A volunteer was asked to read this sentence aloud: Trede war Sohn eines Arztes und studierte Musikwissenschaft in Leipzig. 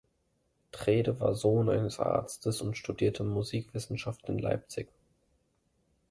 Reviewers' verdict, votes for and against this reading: accepted, 2, 0